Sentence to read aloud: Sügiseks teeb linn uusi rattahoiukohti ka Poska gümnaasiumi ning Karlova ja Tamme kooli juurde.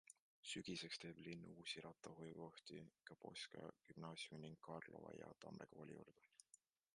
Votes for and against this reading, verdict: 2, 1, accepted